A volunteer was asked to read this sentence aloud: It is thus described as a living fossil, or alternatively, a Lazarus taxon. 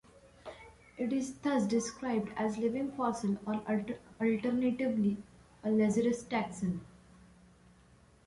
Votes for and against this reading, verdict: 1, 2, rejected